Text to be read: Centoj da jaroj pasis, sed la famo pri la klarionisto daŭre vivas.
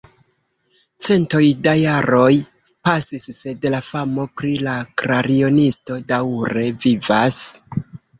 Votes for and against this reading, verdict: 2, 3, rejected